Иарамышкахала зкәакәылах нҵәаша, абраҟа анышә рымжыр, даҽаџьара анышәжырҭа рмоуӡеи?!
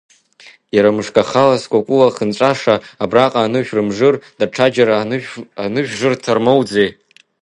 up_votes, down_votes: 0, 2